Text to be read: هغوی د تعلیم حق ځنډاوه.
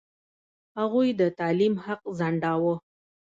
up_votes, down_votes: 2, 0